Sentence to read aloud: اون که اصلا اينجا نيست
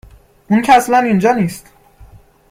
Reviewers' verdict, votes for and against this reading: accepted, 2, 0